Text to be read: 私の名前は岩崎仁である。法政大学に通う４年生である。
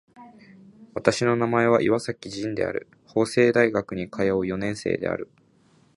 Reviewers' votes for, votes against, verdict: 0, 2, rejected